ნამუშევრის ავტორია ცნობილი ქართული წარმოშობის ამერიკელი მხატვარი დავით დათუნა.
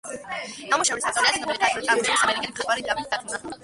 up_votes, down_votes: 1, 2